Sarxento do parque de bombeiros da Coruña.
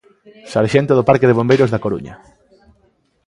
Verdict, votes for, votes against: accepted, 2, 0